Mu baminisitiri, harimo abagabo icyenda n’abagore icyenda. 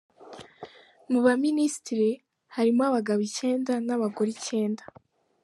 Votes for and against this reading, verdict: 2, 0, accepted